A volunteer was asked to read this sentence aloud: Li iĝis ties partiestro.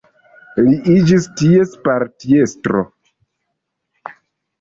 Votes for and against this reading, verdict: 2, 0, accepted